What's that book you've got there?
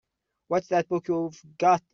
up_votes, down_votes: 0, 2